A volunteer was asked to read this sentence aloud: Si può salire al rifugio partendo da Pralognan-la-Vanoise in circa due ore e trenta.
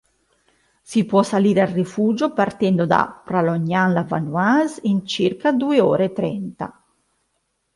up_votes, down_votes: 3, 0